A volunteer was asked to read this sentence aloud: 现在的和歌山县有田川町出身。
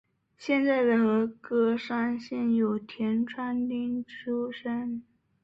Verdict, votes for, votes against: accepted, 3, 0